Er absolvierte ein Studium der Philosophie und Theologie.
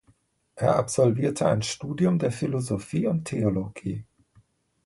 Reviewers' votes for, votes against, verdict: 2, 0, accepted